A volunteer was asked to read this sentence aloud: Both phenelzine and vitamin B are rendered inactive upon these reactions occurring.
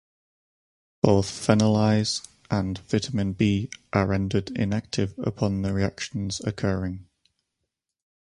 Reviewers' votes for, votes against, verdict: 0, 4, rejected